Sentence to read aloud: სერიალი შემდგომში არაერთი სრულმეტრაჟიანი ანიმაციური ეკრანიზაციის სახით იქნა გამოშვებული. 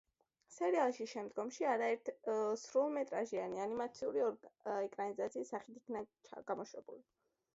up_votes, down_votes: 1, 2